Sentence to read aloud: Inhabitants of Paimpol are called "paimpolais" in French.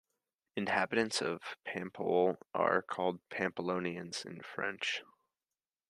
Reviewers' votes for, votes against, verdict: 1, 2, rejected